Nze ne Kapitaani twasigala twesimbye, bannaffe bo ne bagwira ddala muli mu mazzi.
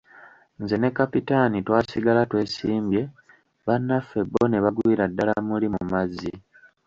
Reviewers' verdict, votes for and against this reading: rejected, 1, 2